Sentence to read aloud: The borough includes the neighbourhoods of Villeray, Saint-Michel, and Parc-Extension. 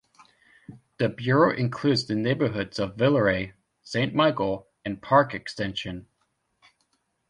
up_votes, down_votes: 0, 2